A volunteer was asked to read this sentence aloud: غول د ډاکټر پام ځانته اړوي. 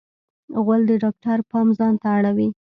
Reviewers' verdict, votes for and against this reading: rejected, 0, 2